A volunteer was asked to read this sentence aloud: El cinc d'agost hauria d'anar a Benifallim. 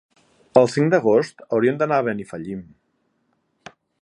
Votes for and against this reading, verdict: 3, 0, accepted